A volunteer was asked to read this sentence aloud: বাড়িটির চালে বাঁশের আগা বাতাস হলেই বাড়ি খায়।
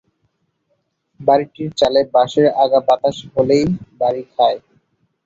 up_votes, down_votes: 5, 5